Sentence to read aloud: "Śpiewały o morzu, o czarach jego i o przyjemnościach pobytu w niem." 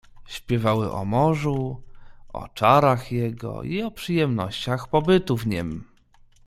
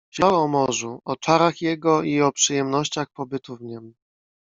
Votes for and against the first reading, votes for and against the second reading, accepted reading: 2, 0, 0, 2, first